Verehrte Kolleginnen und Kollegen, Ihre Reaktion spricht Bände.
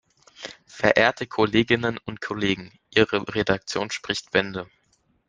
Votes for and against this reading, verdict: 0, 2, rejected